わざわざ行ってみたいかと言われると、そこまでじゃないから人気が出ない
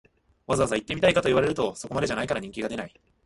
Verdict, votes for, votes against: rejected, 1, 2